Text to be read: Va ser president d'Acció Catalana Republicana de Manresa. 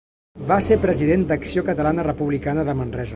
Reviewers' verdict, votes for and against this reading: accepted, 2, 0